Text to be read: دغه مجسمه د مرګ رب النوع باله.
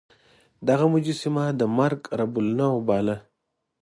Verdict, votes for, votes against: accepted, 2, 0